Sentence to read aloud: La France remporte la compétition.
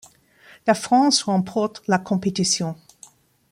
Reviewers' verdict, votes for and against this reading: accepted, 2, 0